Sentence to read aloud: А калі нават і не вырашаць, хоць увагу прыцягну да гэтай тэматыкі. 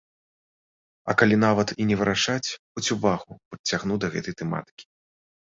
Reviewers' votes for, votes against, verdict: 2, 1, accepted